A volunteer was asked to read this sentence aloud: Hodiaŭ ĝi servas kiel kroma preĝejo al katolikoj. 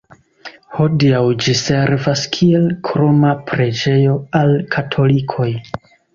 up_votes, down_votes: 3, 1